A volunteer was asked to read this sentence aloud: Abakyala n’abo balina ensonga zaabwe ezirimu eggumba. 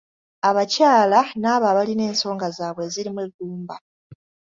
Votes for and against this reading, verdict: 1, 2, rejected